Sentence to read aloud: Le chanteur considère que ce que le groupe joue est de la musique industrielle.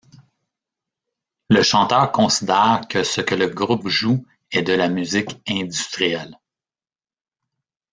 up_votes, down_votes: 0, 2